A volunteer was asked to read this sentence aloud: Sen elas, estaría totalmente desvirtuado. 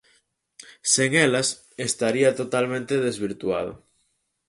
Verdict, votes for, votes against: accepted, 4, 0